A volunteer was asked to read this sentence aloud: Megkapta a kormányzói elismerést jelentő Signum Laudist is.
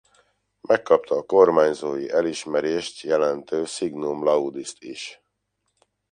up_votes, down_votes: 2, 0